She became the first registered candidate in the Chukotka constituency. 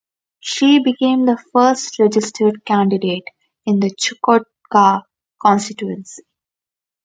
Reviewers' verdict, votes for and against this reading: rejected, 2, 2